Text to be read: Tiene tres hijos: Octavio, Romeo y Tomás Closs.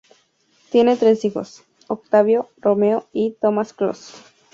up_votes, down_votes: 2, 0